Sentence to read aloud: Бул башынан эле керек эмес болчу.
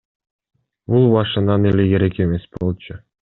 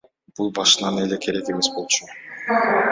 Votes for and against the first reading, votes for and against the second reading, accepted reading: 0, 2, 2, 0, second